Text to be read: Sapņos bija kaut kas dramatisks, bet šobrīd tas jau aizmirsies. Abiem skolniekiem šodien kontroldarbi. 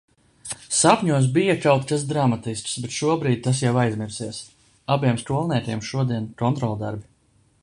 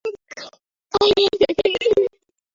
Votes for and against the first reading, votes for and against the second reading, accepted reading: 2, 0, 0, 2, first